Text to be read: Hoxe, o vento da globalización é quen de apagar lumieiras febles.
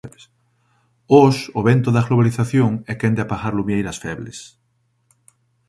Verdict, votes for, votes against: rejected, 1, 2